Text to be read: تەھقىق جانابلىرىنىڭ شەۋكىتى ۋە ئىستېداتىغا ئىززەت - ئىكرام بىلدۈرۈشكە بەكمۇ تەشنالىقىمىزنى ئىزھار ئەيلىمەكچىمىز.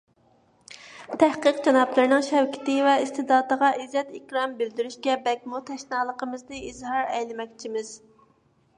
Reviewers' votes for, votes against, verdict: 2, 0, accepted